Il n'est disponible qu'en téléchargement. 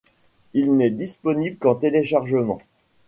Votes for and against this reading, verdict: 2, 0, accepted